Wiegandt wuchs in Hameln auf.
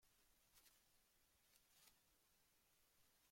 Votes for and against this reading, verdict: 0, 2, rejected